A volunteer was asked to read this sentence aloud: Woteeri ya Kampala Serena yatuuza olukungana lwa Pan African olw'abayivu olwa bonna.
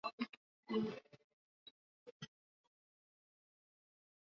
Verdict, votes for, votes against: rejected, 0, 2